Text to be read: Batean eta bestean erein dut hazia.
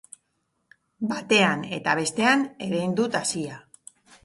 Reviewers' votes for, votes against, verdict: 2, 0, accepted